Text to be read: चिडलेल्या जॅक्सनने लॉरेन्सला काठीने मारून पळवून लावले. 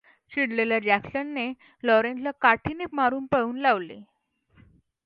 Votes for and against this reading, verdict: 2, 0, accepted